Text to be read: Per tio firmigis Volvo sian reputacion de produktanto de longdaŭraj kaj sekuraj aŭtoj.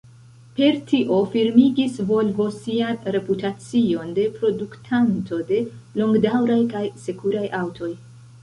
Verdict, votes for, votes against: rejected, 1, 2